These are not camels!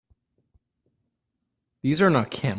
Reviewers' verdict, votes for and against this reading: rejected, 0, 3